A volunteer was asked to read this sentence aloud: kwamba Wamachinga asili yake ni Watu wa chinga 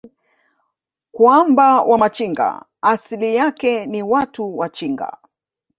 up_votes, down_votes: 2, 0